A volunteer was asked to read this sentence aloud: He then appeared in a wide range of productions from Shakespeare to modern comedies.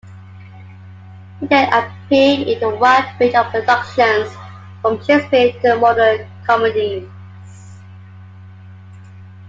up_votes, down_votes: 2, 1